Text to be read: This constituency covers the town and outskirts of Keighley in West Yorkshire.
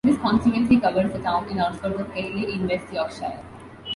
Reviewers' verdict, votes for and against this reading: rejected, 1, 2